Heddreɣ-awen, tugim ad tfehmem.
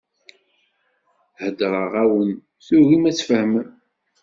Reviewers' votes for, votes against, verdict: 2, 0, accepted